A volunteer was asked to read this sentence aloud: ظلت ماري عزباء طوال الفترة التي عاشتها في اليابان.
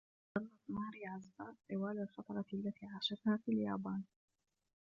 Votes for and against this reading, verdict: 0, 2, rejected